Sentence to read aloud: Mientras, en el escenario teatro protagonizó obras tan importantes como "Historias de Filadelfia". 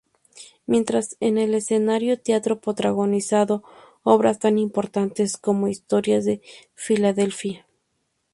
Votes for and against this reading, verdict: 0, 2, rejected